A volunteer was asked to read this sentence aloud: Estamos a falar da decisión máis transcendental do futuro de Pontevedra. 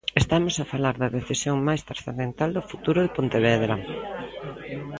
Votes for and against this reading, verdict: 1, 2, rejected